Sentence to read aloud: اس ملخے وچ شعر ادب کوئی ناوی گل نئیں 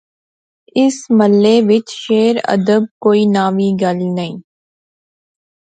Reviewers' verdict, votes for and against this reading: rejected, 0, 2